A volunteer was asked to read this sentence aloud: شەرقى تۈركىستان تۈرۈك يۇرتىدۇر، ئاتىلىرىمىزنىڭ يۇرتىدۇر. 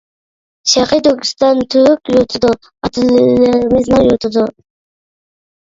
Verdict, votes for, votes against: rejected, 0, 2